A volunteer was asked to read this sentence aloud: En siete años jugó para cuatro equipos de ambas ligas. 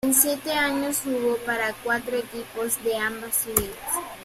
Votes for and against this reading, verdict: 2, 0, accepted